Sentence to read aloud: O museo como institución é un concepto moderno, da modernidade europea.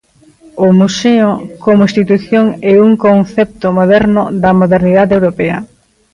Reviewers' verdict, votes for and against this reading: rejected, 0, 2